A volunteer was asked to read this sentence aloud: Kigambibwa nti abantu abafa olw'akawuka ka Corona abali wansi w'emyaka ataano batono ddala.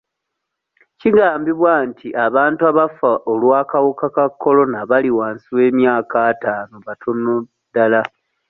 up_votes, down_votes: 2, 0